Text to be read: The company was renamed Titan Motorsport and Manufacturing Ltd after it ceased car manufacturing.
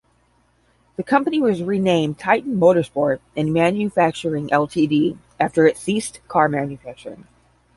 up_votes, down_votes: 5, 5